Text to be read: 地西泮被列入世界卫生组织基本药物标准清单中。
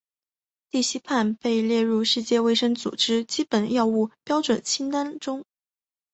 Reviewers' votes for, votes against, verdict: 3, 1, accepted